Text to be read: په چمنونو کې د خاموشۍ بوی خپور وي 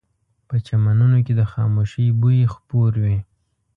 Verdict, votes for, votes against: accepted, 2, 0